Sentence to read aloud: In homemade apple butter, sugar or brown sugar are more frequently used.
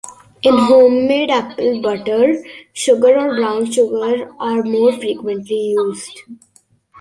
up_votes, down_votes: 1, 2